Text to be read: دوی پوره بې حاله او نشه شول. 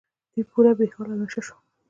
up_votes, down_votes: 2, 0